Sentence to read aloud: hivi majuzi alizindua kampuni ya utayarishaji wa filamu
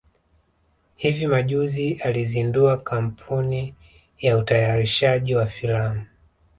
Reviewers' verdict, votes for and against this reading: rejected, 1, 2